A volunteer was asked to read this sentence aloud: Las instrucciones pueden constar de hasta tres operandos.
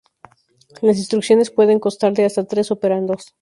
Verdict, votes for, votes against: rejected, 2, 2